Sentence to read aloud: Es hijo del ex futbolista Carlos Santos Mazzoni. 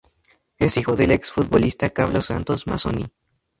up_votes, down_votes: 2, 0